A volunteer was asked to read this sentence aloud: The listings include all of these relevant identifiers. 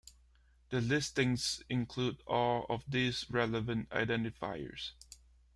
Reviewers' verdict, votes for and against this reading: accepted, 2, 0